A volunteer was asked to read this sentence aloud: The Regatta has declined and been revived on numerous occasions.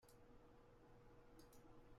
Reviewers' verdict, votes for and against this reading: rejected, 0, 3